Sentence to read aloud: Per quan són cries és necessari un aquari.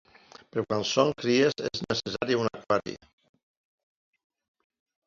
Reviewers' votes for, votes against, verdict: 2, 1, accepted